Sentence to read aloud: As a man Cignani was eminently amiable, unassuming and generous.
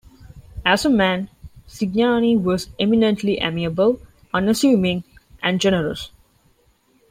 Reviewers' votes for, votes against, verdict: 2, 0, accepted